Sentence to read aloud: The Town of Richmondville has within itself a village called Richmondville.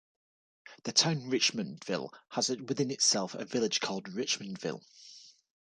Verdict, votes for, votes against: rejected, 0, 2